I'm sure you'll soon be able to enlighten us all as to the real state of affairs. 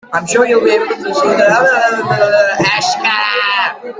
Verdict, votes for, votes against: rejected, 0, 2